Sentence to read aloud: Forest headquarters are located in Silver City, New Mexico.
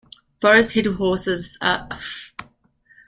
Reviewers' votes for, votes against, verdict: 0, 2, rejected